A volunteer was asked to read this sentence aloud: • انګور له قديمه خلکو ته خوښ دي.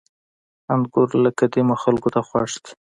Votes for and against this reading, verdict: 2, 0, accepted